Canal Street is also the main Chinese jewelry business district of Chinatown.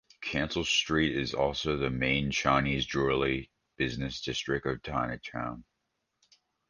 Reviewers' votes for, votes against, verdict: 0, 2, rejected